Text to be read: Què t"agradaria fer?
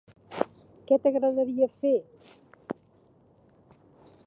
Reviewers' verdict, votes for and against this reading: accepted, 2, 1